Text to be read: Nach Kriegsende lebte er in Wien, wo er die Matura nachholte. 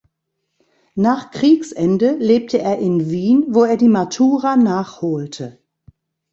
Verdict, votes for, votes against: accepted, 2, 0